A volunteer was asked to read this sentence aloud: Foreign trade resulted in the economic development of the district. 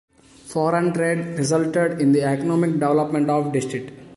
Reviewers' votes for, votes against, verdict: 0, 2, rejected